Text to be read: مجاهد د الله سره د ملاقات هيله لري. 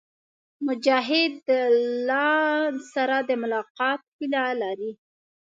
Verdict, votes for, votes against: rejected, 1, 2